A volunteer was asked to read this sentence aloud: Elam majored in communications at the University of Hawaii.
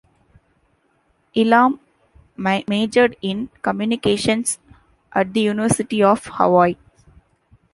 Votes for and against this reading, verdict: 1, 2, rejected